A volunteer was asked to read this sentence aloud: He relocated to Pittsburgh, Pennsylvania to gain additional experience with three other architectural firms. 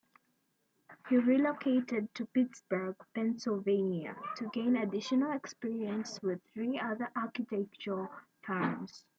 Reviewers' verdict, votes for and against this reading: accepted, 2, 0